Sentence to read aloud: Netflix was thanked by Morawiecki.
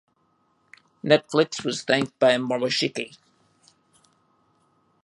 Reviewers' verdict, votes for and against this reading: rejected, 0, 2